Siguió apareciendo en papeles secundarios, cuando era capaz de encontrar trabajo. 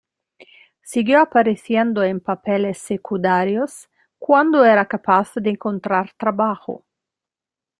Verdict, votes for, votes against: rejected, 1, 2